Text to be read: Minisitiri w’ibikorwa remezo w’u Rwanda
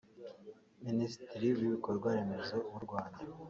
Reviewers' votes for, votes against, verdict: 1, 2, rejected